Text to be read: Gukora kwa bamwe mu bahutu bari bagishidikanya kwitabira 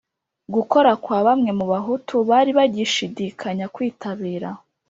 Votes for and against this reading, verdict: 3, 0, accepted